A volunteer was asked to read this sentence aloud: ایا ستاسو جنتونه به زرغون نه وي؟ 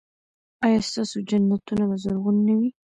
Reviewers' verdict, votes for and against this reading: accepted, 2, 1